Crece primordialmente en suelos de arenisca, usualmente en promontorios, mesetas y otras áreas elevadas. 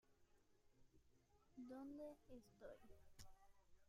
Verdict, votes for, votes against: rejected, 0, 2